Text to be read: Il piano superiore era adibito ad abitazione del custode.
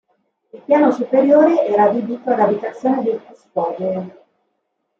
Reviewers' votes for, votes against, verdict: 2, 0, accepted